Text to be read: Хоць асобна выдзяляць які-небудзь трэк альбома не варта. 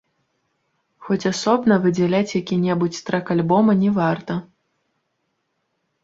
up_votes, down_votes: 1, 2